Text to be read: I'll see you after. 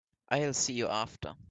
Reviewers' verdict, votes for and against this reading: accepted, 2, 0